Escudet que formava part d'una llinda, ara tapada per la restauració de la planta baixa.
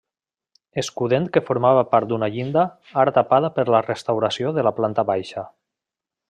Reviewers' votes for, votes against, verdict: 1, 2, rejected